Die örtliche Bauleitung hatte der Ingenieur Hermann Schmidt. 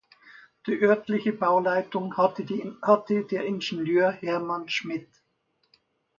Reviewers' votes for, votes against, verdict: 0, 2, rejected